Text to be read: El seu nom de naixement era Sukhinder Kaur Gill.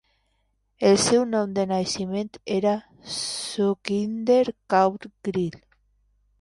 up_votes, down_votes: 0, 2